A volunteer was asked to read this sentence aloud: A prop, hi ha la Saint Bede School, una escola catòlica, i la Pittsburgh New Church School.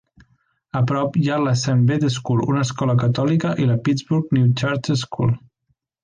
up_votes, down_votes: 2, 0